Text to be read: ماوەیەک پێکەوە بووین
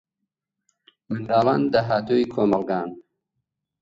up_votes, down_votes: 0, 4